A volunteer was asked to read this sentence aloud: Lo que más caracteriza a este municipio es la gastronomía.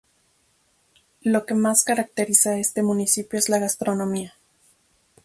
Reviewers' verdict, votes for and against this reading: rejected, 2, 2